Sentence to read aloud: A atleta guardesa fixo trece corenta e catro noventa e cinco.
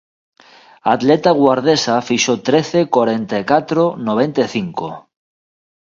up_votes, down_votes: 2, 0